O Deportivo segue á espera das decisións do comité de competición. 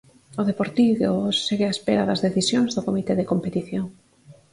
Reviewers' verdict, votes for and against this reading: accepted, 4, 0